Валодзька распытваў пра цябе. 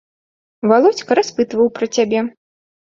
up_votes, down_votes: 2, 0